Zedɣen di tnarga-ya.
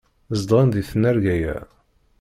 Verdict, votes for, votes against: rejected, 0, 2